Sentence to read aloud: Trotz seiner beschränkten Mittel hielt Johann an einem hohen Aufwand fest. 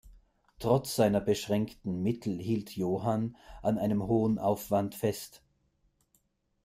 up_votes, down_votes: 2, 0